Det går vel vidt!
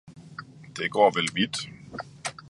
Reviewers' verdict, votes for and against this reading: rejected, 1, 2